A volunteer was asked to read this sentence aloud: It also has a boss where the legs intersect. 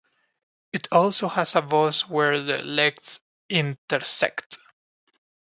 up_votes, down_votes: 1, 2